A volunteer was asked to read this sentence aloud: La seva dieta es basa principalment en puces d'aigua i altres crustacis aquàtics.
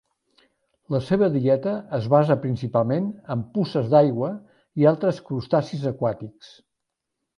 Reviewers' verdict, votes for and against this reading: accepted, 2, 0